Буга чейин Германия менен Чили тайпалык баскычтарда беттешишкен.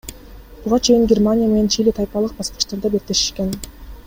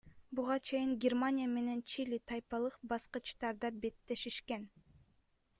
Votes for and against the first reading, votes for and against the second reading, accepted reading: 1, 2, 2, 0, second